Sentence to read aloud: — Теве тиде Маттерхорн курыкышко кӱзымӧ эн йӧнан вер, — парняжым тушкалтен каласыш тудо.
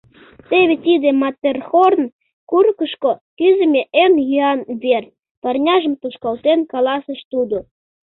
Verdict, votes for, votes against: rejected, 0, 2